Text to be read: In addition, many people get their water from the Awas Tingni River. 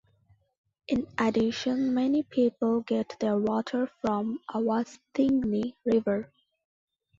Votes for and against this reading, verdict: 0, 2, rejected